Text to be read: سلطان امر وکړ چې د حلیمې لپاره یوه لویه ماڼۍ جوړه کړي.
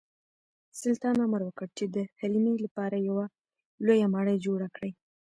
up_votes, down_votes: 0, 2